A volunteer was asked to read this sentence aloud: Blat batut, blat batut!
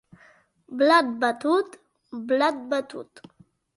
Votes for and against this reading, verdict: 2, 0, accepted